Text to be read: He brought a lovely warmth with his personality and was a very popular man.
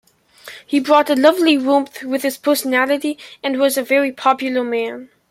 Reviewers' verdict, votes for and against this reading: accepted, 2, 0